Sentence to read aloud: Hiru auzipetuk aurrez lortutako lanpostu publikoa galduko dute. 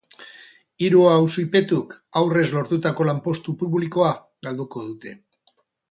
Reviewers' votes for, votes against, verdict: 2, 0, accepted